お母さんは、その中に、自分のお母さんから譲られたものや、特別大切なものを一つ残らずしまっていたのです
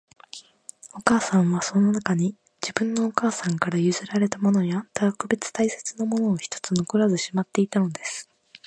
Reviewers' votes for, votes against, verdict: 2, 1, accepted